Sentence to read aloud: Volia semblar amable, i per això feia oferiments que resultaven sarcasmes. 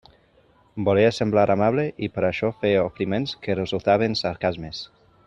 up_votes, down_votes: 0, 2